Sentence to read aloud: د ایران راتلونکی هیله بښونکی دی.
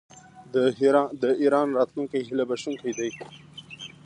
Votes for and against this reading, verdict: 1, 2, rejected